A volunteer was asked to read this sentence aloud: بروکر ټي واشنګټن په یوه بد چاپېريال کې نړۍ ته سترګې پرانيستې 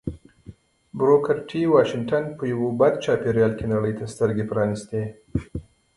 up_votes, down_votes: 2, 1